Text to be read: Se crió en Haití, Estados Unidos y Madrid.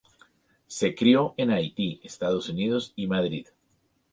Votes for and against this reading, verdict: 4, 0, accepted